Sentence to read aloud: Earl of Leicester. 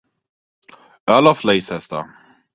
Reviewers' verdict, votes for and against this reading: rejected, 0, 4